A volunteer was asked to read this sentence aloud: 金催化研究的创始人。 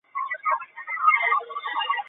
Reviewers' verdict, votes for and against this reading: rejected, 2, 4